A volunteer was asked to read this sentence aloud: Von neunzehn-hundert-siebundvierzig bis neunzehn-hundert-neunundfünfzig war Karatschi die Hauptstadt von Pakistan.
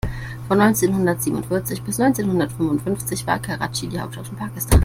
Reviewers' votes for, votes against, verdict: 0, 2, rejected